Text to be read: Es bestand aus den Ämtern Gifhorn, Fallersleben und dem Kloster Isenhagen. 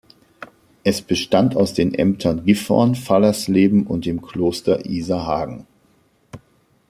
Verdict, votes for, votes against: rejected, 1, 2